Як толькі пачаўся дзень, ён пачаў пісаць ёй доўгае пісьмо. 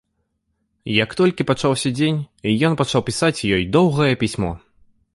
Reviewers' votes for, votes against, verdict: 2, 0, accepted